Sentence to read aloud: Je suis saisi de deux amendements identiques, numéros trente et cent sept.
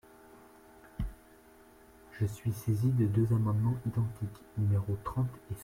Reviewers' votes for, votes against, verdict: 0, 2, rejected